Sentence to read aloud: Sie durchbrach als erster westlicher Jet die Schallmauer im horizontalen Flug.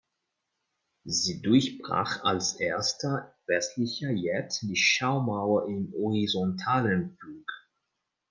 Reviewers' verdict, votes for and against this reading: rejected, 1, 2